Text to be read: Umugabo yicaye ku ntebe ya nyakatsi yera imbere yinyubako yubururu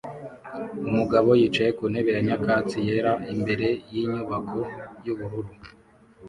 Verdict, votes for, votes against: accepted, 2, 0